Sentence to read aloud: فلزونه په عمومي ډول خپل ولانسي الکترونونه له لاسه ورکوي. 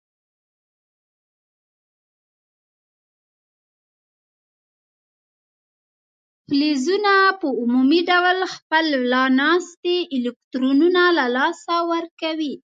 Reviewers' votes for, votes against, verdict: 0, 2, rejected